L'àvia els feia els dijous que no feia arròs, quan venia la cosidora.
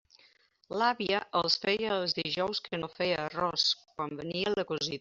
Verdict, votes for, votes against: rejected, 0, 2